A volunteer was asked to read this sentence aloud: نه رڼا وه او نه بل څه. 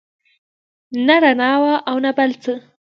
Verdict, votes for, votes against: rejected, 1, 2